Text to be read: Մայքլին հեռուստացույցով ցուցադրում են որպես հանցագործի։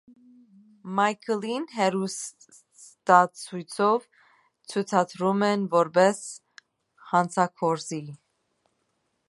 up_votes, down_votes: 1, 3